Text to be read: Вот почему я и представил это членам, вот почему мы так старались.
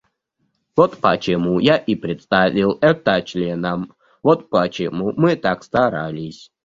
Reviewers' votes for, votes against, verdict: 0, 2, rejected